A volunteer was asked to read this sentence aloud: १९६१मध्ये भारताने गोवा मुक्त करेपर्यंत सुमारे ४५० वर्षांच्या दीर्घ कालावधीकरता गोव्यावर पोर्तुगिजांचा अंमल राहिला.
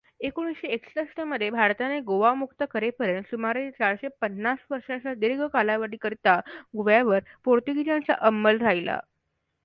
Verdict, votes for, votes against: rejected, 0, 2